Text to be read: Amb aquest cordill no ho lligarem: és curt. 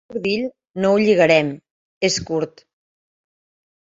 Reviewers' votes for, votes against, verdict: 0, 2, rejected